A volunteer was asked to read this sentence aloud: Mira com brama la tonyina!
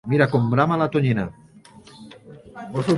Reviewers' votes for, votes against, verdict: 2, 0, accepted